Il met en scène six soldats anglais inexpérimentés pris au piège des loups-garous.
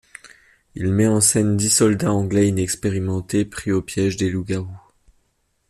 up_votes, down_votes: 0, 2